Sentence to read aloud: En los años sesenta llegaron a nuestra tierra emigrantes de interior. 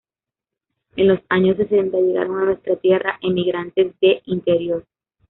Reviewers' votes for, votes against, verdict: 0, 2, rejected